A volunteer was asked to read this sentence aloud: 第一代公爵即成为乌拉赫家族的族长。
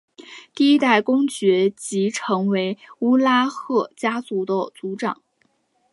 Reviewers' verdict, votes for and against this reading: accepted, 2, 0